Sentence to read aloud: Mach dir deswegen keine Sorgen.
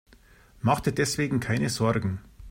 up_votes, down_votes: 2, 0